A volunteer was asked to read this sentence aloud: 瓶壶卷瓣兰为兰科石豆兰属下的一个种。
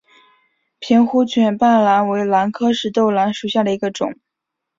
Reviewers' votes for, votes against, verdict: 3, 0, accepted